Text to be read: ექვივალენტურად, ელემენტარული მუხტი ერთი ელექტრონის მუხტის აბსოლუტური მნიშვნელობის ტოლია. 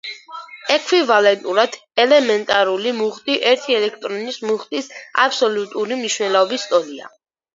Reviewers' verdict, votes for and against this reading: accepted, 2, 0